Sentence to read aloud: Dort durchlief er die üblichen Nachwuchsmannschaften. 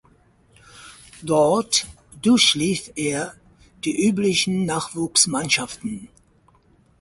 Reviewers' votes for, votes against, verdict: 4, 0, accepted